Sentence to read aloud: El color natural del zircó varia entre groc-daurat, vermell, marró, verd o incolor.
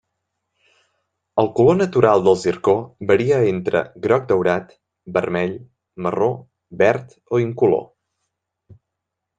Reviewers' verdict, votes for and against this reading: accepted, 2, 0